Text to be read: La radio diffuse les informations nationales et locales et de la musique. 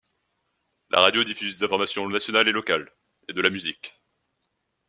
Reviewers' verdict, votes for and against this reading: accepted, 2, 0